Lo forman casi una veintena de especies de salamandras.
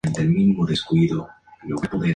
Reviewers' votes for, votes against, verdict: 0, 2, rejected